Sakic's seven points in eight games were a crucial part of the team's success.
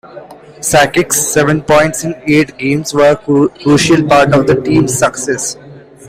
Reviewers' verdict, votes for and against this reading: accepted, 2, 0